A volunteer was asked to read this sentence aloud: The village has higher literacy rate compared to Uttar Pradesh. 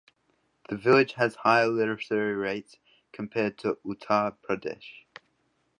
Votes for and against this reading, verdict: 1, 2, rejected